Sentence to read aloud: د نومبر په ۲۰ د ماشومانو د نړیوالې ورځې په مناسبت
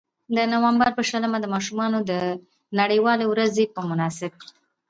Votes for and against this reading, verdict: 0, 2, rejected